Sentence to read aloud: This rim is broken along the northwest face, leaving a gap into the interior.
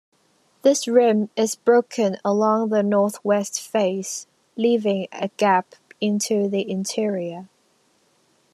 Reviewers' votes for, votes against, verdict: 2, 0, accepted